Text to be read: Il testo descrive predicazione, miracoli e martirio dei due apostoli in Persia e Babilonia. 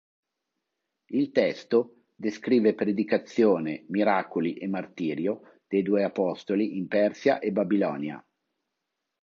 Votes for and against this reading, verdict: 3, 0, accepted